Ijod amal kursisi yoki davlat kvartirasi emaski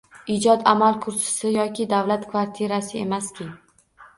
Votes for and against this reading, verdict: 0, 2, rejected